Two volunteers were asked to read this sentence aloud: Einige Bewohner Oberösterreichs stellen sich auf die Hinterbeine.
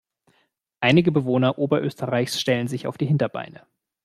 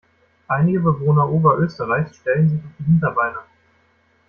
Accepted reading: first